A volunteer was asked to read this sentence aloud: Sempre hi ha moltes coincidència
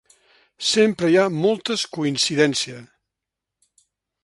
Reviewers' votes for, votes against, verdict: 5, 0, accepted